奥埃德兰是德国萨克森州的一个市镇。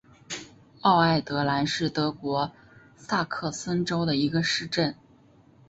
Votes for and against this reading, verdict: 3, 0, accepted